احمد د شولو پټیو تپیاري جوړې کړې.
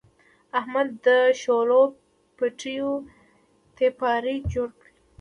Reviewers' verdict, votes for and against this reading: rejected, 1, 2